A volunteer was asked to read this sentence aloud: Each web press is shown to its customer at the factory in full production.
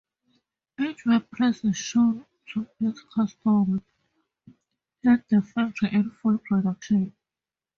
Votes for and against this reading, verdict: 2, 2, rejected